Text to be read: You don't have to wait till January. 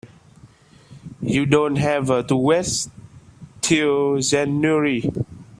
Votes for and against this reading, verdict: 0, 2, rejected